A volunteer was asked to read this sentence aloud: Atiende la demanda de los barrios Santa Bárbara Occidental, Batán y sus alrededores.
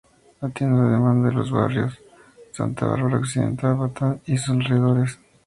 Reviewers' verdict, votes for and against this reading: rejected, 2, 2